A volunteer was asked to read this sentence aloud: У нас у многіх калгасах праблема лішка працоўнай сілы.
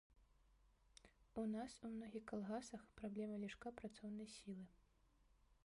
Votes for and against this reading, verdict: 0, 2, rejected